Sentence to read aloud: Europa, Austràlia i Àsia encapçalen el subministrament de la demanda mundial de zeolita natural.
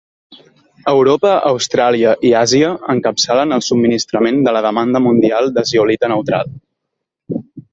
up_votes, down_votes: 1, 2